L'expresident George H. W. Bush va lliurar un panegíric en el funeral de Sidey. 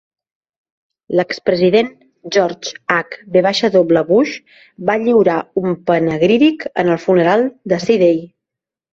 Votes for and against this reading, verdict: 0, 2, rejected